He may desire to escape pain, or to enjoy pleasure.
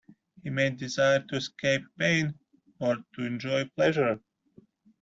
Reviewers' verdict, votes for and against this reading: accepted, 2, 0